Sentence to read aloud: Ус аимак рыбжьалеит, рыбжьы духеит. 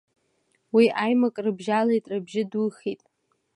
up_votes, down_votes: 2, 0